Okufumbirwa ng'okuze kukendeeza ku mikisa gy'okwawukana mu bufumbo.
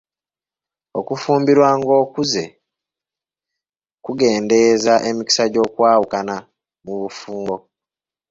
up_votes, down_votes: 0, 2